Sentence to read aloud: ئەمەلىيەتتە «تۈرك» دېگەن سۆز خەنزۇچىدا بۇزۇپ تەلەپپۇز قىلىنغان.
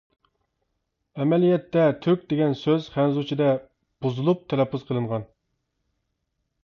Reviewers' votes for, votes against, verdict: 0, 2, rejected